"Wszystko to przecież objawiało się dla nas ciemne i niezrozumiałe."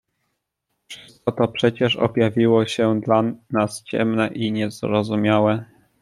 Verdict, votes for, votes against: rejected, 1, 2